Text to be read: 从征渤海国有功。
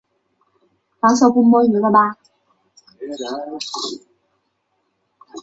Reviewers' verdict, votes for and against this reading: rejected, 0, 2